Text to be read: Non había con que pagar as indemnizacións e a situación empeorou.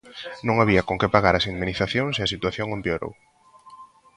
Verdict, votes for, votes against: accepted, 2, 0